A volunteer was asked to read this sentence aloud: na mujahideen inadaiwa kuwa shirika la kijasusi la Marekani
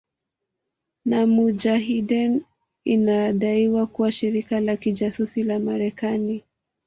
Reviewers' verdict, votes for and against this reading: accepted, 2, 1